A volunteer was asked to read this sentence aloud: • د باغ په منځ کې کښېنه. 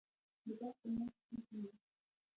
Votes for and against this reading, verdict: 1, 2, rejected